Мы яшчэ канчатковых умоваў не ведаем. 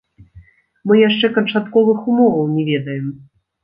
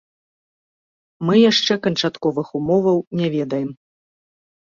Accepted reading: second